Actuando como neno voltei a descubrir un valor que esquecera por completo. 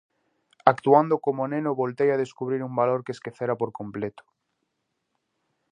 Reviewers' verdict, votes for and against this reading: accepted, 4, 0